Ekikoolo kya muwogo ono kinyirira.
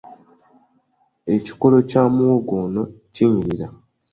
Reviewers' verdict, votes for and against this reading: accepted, 2, 0